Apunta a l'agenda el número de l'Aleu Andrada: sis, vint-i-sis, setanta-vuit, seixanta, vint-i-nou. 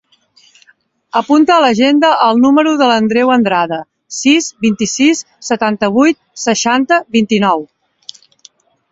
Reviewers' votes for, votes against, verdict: 0, 12, rejected